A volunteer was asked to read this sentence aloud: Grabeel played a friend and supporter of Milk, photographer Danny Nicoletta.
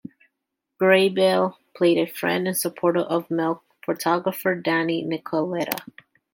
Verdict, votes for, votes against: accepted, 2, 0